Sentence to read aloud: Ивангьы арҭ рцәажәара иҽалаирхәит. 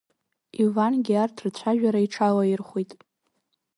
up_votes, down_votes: 2, 0